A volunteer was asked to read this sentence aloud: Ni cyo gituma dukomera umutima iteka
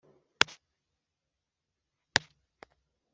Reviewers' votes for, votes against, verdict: 2, 1, accepted